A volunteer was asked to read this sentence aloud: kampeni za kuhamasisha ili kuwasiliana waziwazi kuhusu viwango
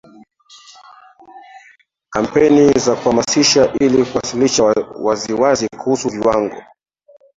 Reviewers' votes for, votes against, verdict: 1, 2, rejected